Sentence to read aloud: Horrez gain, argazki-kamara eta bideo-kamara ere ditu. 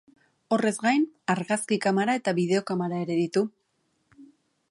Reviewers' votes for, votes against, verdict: 3, 0, accepted